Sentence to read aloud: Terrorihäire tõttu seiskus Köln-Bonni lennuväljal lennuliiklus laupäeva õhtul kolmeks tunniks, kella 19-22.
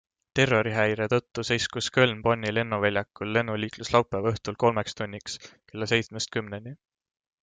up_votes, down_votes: 0, 2